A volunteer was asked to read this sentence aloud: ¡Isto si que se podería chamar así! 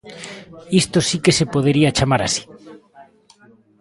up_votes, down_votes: 1, 2